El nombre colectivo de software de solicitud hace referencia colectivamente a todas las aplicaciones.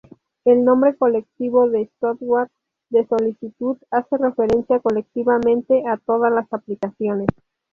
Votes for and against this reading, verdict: 0, 2, rejected